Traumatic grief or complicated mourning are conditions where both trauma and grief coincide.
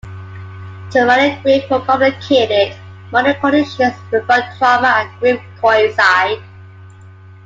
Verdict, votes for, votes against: accepted, 2, 1